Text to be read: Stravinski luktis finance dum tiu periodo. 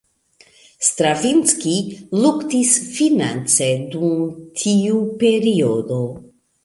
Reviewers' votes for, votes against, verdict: 2, 0, accepted